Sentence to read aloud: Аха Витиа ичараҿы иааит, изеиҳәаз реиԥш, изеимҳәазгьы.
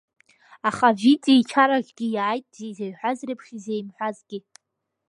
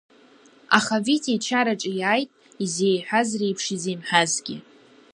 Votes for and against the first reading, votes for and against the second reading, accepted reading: 1, 2, 2, 0, second